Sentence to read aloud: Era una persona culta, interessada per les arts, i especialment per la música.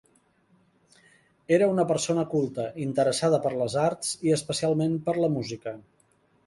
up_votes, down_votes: 2, 0